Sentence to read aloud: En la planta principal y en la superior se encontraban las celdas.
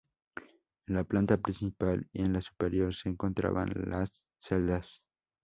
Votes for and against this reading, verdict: 4, 0, accepted